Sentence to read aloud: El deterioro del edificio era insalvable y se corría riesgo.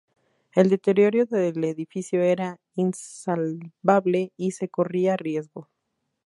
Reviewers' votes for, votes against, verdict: 2, 2, rejected